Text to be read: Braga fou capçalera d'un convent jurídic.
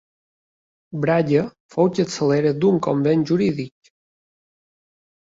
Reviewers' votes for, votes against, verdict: 2, 0, accepted